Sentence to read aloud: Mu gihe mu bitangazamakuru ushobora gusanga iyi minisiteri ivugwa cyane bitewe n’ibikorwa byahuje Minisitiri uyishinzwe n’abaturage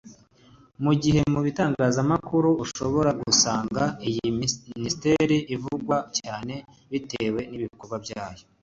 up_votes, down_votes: 0, 2